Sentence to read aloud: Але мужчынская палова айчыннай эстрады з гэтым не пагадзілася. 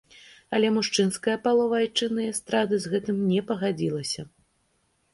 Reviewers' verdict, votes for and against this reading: accepted, 2, 0